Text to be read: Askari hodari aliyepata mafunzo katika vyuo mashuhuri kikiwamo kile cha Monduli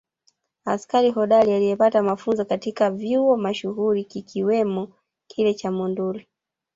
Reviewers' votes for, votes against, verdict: 1, 2, rejected